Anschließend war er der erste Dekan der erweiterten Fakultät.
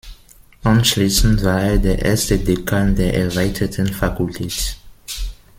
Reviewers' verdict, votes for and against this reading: rejected, 0, 2